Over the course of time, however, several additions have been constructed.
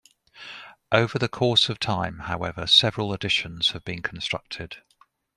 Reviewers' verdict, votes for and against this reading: accepted, 2, 0